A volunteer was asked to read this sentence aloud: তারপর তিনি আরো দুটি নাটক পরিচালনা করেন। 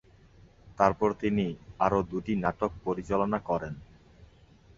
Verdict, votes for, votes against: accepted, 5, 0